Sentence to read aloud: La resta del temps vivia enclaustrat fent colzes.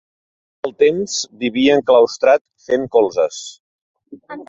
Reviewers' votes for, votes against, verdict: 0, 2, rejected